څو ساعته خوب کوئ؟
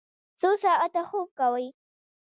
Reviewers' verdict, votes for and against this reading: rejected, 0, 2